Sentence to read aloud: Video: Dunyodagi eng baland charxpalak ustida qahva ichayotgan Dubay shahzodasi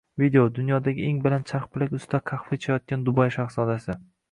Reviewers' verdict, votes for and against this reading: rejected, 1, 2